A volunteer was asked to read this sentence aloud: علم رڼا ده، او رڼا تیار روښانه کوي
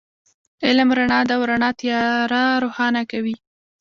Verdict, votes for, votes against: accepted, 2, 0